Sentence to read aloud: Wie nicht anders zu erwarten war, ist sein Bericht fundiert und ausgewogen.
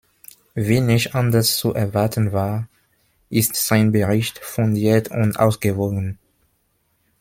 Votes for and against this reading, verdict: 2, 0, accepted